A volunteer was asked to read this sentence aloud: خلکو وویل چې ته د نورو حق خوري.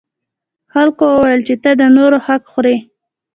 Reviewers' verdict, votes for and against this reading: rejected, 1, 2